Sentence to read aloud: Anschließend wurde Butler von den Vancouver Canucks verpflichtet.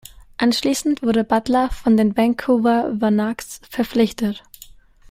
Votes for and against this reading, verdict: 0, 2, rejected